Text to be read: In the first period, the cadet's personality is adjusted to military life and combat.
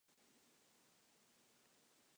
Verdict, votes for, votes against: rejected, 0, 3